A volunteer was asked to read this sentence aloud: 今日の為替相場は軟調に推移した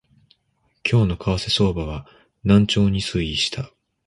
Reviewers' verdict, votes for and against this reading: accepted, 2, 0